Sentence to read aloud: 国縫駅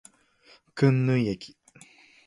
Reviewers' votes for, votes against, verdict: 1, 2, rejected